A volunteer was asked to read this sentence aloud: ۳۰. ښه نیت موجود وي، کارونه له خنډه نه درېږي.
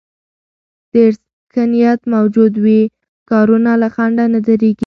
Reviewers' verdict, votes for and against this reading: rejected, 0, 2